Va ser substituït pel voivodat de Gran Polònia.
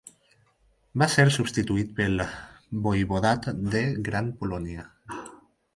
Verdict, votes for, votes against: accepted, 4, 0